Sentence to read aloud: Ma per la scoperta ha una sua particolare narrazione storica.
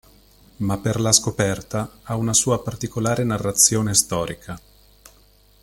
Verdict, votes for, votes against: accepted, 2, 0